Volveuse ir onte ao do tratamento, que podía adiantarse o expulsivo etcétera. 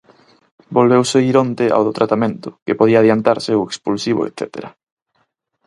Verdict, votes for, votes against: accepted, 4, 0